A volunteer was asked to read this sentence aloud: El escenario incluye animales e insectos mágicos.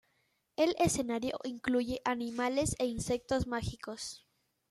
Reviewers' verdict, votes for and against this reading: accepted, 2, 0